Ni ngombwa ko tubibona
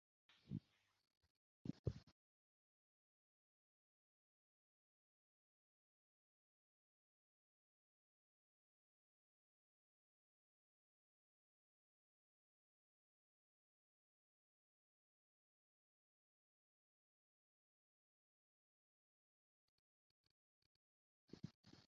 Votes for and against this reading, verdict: 0, 2, rejected